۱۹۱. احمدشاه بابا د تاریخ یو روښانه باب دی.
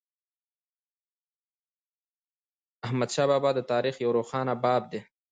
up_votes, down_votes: 0, 2